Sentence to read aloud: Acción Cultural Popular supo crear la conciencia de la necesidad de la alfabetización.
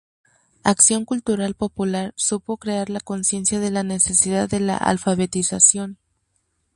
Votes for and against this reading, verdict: 2, 0, accepted